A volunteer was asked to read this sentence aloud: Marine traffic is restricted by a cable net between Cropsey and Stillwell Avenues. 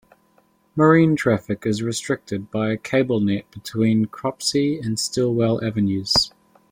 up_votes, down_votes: 2, 0